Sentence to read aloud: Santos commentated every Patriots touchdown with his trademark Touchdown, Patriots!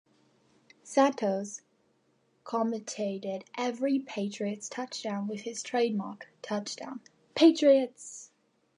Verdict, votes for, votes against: accepted, 2, 0